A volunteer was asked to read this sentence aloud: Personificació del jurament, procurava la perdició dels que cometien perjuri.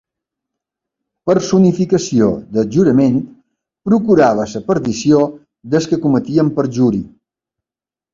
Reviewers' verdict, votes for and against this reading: rejected, 0, 2